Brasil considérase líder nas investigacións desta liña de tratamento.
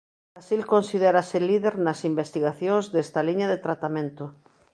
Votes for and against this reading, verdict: 0, 2, rejected